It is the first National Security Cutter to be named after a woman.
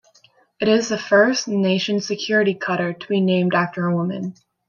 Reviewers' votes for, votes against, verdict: 0, 2, rejected